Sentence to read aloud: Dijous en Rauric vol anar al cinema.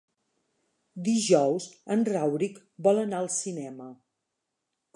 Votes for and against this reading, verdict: 2, 0, accepted